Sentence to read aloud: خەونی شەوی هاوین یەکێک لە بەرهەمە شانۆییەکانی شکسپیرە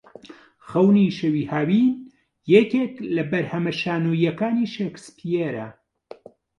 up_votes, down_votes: 1, 2